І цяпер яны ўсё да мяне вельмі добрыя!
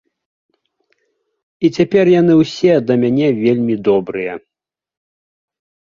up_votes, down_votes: 2, 1